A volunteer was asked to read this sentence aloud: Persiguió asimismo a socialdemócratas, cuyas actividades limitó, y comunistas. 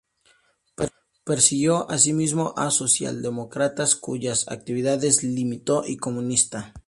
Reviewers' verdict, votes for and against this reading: rejected, 0, 2